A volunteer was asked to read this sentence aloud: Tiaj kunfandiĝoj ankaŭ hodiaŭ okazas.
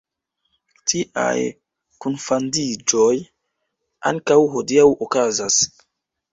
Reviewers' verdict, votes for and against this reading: accepted, 3, 2